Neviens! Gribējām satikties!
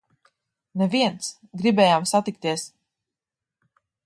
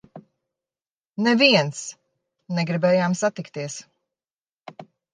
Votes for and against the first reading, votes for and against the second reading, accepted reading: 3, 2, 0, 2, first